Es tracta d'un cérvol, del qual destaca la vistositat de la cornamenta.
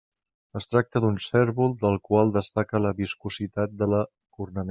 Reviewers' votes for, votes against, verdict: 0, 2, rejected